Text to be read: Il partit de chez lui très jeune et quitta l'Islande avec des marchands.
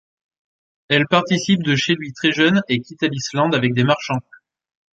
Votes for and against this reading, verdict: 1, 2, rejected